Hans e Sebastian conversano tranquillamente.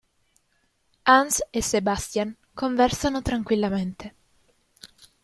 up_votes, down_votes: 2, 0